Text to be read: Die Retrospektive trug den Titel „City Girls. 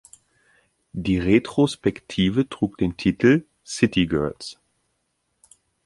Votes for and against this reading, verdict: 2, 0, accepted